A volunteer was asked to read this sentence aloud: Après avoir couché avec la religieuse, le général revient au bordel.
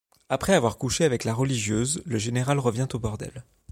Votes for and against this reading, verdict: 2, 0, accepted